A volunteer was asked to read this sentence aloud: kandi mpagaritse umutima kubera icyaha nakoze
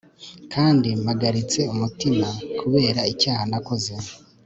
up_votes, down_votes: 2, 0